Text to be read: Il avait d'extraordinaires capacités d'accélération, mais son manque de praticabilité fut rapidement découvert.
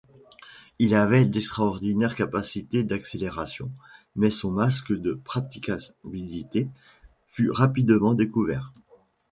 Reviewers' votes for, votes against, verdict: 0, 2, rejected